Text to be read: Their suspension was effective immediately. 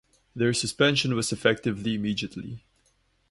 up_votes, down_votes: 0, 2